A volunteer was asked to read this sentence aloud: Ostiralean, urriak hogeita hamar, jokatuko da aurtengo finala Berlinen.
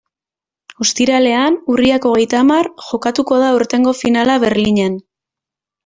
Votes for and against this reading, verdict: 2, 0, accepted